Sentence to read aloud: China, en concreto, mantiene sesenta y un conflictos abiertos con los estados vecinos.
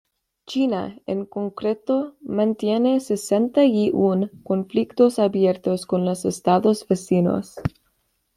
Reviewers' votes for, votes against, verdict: 2, 0, accepted